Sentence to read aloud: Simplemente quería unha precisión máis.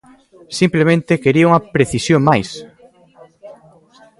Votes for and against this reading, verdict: 2, 0, accepted